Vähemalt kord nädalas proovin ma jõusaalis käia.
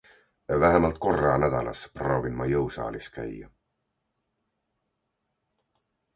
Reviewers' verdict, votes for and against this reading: rejected, 0, 2